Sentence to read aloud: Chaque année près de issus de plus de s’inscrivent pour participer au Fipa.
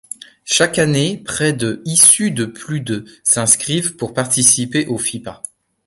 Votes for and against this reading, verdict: 2, 0, accepted